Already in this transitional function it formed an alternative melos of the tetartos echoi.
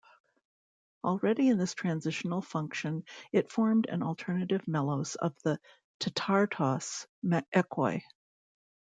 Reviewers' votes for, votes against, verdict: 0, 2, rejected